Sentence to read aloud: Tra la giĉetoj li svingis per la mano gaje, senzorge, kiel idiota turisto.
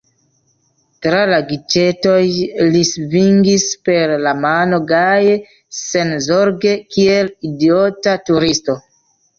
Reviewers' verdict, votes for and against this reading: rejected, 1, 2